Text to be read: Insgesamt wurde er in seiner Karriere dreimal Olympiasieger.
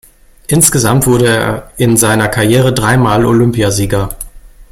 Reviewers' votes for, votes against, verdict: 2, 0, accepted